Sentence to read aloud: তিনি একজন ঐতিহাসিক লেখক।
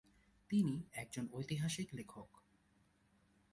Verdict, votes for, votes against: rejected, 1, 2